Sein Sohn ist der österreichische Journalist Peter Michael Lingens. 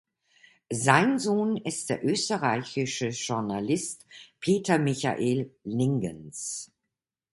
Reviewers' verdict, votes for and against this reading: accepted, 2, 0